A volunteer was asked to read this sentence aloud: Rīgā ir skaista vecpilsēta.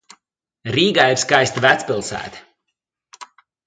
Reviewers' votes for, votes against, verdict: 2, 0, accepted